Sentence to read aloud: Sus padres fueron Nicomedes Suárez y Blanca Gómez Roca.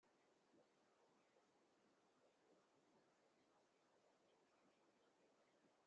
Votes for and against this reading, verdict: 0, 2, rejected